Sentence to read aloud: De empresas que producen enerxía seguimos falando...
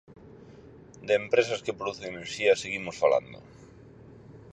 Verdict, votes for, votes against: accepted, 4, 0